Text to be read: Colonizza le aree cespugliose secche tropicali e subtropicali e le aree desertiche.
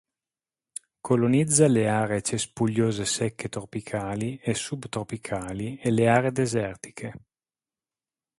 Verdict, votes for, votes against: accepted, 3, 0